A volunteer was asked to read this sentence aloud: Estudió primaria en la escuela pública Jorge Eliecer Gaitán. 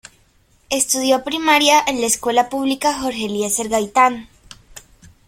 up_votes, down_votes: 1, 2